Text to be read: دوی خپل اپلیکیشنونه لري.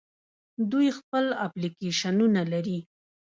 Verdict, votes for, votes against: accepted, 2, 0